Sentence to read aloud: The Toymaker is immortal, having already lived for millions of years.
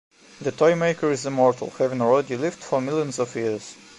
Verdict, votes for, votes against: accepted, 2, 0